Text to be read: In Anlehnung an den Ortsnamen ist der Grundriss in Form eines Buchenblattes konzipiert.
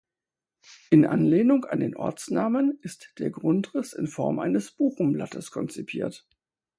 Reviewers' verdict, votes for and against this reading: accepted, 4, 0